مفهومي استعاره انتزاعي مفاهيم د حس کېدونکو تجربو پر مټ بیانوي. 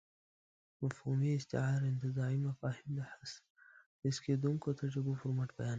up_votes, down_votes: 1, 2